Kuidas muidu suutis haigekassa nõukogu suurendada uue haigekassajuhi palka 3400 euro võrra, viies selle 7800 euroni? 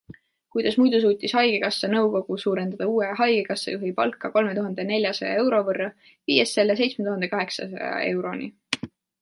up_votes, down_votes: 0, 2